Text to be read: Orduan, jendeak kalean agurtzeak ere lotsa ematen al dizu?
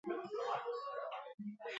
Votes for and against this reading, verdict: 0, 2, rejected